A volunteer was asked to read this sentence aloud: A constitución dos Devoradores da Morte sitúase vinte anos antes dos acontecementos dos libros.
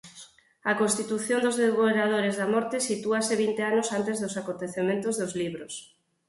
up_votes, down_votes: 4, 2